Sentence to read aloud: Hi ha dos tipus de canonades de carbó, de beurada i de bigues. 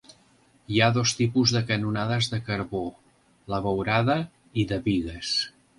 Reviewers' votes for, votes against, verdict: 0, 2, rejected